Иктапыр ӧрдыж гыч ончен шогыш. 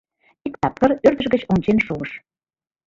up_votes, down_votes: 2, 1